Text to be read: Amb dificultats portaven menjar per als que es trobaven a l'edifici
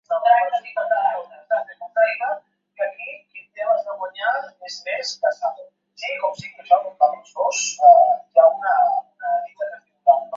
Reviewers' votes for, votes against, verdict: 0, 3, rejected